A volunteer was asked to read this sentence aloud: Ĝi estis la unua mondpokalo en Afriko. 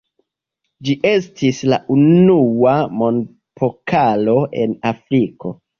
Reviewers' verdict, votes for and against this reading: accepted, 2, 0